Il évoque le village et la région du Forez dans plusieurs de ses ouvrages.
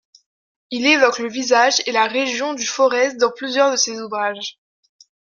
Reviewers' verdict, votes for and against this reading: rejected, 0, 2